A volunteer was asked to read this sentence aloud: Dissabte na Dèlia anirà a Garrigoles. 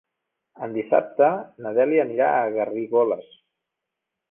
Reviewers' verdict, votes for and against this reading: rejected, 1, 2